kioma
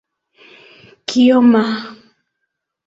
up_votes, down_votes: 2, 0